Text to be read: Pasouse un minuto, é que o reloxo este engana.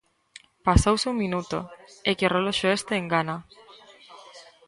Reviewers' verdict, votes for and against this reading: rejected, 1, 2